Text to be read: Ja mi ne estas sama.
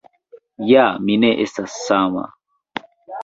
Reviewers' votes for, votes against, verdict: 2, 1, accepted